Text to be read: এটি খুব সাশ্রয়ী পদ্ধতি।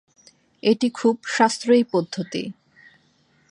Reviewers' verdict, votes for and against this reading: accepted, 2, 0